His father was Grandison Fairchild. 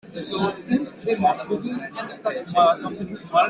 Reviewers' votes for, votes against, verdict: 0, 3, rejected